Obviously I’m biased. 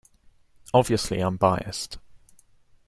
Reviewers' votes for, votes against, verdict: 2, 0, accepted